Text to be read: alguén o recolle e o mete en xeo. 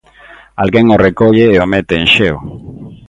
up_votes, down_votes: 2, 0